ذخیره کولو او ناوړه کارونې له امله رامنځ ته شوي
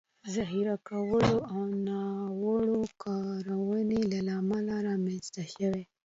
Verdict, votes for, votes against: accepted, 2, 1